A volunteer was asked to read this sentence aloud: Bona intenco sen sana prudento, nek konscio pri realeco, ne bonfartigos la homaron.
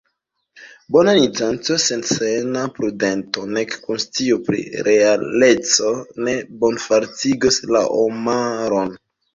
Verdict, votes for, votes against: rejected, 1, 2